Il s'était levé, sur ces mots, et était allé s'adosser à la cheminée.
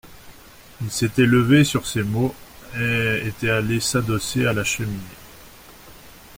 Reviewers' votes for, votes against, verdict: 2, 0, accepted